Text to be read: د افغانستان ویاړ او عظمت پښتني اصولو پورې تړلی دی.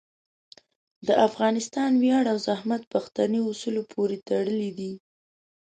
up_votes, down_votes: 0, 2